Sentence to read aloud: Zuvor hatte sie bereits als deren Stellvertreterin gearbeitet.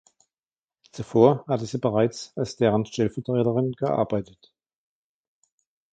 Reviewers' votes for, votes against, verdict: 2, 1, accepted